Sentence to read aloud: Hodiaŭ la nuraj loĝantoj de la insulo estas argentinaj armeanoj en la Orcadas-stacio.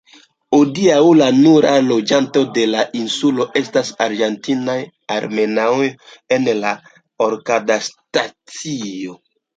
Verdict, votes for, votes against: rejected, 0, 2